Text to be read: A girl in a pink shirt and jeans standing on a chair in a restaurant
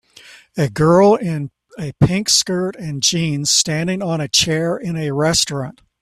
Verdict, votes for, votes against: rejected, 1, 2